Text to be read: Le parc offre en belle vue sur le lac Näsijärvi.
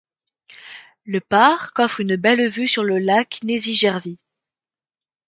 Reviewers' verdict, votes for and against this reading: rejected, 1, 2